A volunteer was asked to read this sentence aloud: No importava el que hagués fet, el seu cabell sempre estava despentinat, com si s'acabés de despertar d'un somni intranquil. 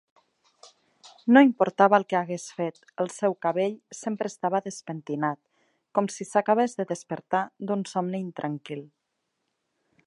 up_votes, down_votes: 3, 0